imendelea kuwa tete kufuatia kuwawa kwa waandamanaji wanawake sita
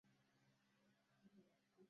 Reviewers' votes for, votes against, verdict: 0, 2, rejected